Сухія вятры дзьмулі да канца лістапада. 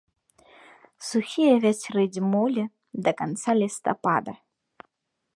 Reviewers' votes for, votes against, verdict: 1, 2, rejected